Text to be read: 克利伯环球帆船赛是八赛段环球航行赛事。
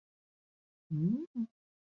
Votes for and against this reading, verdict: 0, 6, rejected